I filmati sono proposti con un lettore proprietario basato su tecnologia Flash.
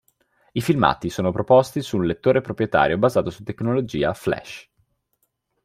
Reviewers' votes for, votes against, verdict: 0, 2, rejected